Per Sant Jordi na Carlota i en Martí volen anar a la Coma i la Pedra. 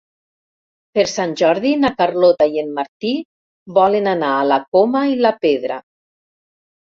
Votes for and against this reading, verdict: 4, 0, accepted